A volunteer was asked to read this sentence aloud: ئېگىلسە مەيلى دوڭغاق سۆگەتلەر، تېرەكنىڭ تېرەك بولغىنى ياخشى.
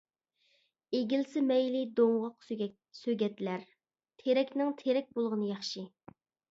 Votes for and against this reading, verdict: 2, 0, accepted